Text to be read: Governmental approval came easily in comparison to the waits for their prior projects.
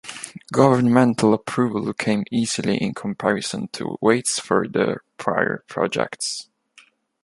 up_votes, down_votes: 1, 2